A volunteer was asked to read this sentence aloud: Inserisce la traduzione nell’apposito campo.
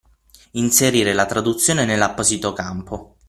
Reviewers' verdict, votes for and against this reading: rejected, 3, 9